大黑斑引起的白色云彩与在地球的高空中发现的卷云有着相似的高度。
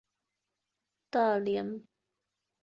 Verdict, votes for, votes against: rejected, 1, 3